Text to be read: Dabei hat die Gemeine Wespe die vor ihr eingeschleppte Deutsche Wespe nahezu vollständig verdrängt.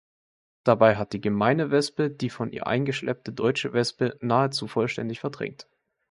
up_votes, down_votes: 1, 2